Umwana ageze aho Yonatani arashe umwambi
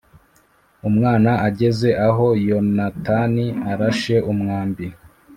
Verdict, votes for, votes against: accepted, 2, 0